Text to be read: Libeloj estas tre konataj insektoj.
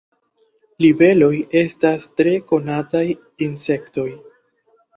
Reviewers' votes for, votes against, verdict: 2, 0, accepted